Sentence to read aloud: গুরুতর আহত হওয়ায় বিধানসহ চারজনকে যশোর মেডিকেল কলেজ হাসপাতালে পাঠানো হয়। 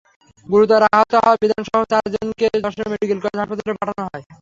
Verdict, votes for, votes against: rejected, 0, 3